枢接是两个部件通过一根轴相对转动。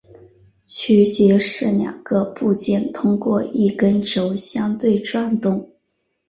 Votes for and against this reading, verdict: 0, 3, rejected